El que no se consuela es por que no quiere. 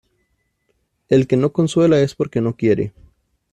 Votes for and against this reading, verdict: 0, 2, rejected